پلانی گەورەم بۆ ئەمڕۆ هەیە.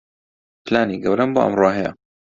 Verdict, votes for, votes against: accepted, 2, 0